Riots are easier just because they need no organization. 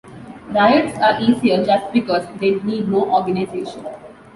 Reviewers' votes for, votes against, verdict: 2, 0, accepted